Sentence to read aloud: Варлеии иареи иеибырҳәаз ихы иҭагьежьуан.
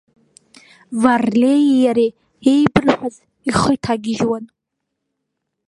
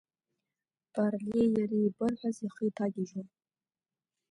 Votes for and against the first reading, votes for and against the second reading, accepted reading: 2, 1, 1, 2, first